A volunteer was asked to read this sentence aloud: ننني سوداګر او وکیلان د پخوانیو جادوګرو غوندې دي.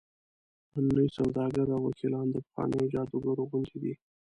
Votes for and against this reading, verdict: 1, 2, rejected